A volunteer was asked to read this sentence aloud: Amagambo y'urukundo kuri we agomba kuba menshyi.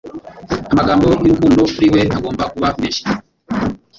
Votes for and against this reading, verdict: 2, 3, rejected